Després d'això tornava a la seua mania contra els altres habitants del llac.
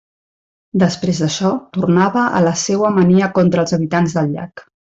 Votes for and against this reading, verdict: 0, 2, rejected